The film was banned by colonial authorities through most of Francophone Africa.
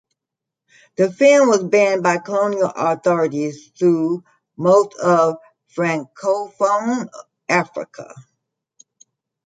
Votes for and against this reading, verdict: 0, 2, rejected